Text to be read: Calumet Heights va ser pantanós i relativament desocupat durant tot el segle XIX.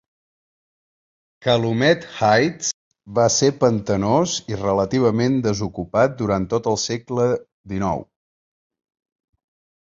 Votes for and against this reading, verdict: 4, 0, accepted